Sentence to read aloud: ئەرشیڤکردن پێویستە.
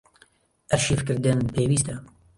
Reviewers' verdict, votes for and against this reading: rejected, 1, 2